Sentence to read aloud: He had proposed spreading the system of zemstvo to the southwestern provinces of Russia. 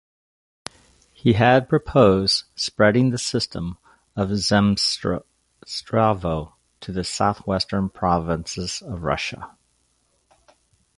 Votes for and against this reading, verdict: 1, 2, rejected